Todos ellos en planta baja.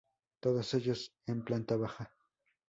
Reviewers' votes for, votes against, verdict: 2, 0, accepted